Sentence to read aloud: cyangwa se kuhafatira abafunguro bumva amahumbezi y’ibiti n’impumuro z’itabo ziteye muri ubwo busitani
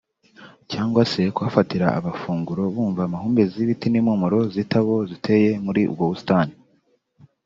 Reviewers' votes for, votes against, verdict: 3, 0, accepted